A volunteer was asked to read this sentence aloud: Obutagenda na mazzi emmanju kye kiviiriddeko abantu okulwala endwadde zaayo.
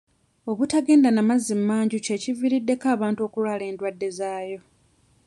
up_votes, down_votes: 1, 2